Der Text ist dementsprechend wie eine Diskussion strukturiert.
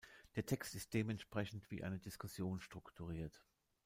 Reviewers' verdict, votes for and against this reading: accepted, 2, 0